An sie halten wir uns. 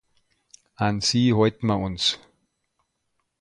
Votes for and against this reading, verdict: 0, 2, rejected